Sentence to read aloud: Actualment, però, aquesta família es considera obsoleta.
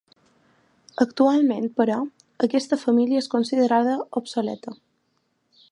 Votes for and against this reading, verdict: 1, 2, rejected